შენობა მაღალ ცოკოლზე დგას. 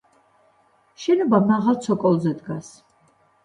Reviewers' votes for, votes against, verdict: 2, 0, accepted